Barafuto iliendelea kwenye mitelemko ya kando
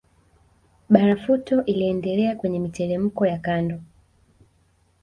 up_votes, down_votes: 1, 2